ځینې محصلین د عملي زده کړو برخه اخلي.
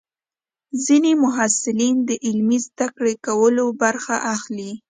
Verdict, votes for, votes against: rejected, 1, 2